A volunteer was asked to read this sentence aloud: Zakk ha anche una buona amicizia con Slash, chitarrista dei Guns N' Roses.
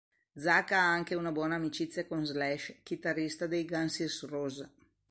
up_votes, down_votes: 1, 2